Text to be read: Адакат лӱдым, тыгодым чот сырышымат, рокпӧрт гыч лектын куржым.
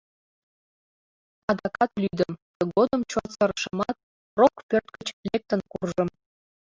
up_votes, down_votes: 0, 2